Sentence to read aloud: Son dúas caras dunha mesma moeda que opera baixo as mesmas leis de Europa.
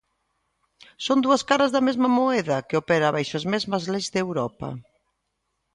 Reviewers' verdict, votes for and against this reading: rejected, 0, 2